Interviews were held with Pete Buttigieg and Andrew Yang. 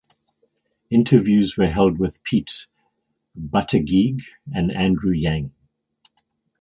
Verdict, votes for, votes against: accepted, 6, 2